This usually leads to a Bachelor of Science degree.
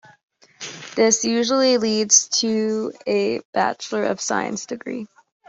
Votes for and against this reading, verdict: 2, 0, accepted